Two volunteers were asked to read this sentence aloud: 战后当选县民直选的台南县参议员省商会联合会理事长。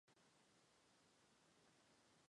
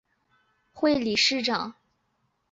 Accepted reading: first